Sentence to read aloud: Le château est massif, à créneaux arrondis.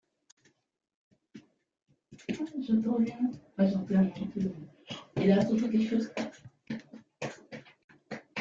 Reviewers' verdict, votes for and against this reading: rejected, 0, 2